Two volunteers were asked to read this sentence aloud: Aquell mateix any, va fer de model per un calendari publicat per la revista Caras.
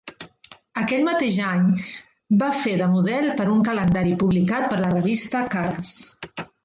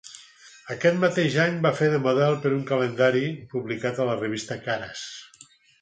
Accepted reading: first